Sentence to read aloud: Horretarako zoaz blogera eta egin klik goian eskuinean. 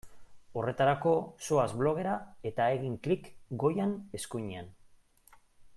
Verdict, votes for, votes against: accepted, 2, 0